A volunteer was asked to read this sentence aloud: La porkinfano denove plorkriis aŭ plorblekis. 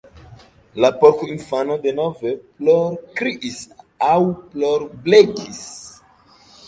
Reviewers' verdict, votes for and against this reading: accepted, 2, 1